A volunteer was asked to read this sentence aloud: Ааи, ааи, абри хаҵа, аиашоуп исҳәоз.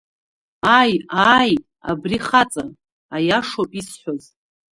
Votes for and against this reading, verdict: 1, 2, rejected